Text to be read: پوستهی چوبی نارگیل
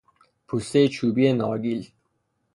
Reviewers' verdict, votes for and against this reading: accepted, 3, 0